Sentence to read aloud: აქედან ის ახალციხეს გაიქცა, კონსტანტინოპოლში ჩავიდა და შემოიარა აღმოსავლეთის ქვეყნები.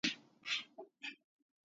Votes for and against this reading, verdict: 0, 2, rejected